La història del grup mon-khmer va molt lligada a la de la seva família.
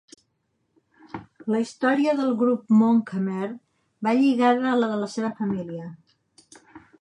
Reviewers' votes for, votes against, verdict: 0, 2, rejected